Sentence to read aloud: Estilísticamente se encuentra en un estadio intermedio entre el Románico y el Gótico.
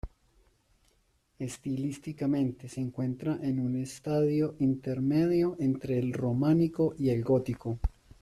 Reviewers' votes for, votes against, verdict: 1, 2, rejected